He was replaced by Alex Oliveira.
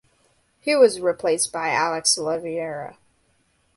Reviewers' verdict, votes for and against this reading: accepted, 2, 0